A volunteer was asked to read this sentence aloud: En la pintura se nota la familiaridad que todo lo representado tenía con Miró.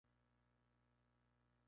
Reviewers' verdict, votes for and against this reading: rejected, 0, 2